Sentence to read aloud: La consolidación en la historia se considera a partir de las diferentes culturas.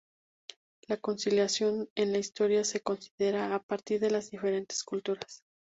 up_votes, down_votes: 2, 0